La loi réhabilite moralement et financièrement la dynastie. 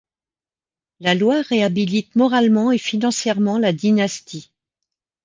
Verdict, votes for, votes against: accepted, 2, 0